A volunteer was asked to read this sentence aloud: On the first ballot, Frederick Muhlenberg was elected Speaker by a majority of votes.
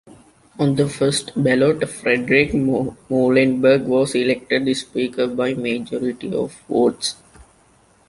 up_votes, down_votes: 1, 2